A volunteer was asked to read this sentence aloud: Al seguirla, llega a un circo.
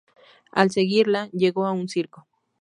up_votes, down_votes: 2, 0